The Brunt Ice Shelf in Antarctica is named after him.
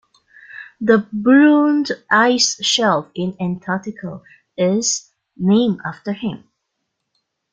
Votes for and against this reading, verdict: 2, 1, accepted